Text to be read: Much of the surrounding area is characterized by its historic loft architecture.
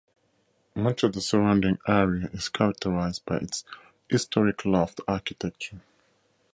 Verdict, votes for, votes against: accepted, 4, 0